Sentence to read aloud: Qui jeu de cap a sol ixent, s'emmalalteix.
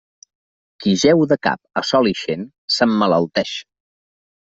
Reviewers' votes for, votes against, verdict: 2, 0, accepted